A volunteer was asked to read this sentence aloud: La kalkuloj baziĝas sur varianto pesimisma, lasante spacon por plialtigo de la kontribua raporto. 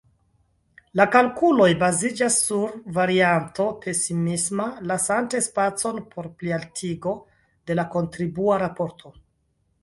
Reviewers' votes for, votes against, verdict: 1, 2, rejected